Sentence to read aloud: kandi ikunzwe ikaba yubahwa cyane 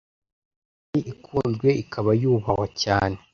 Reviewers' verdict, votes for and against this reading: rejected, 0, 2